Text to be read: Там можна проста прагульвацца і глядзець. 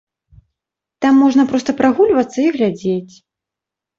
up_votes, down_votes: 2, 0